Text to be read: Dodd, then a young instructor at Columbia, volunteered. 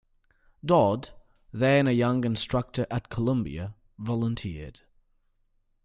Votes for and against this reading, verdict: 2, 0, accepted